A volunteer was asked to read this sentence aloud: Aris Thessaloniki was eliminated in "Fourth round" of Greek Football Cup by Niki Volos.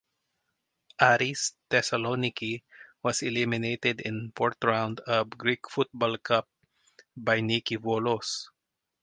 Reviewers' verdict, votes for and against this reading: rejected, 0, 2